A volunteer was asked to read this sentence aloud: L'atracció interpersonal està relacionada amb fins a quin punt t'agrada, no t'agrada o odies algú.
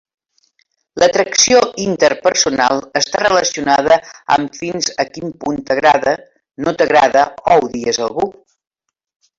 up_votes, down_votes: 1, 2